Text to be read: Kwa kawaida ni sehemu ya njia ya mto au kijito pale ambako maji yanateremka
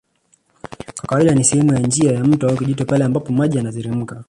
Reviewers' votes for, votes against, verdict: 1, 2, rejected